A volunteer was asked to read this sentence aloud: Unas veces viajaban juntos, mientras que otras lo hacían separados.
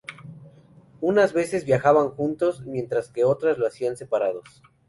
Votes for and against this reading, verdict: 2, 0, accepted